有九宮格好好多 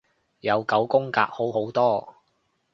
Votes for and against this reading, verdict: 2, 0, accepted